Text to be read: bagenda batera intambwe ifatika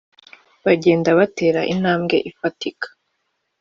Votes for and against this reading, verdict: 2, 0, accepted